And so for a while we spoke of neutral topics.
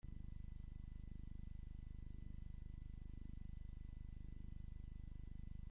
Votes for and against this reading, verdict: 0, 2, rejected